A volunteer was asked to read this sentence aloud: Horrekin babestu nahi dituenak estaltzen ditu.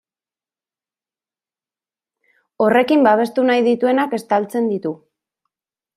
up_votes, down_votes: 2, 0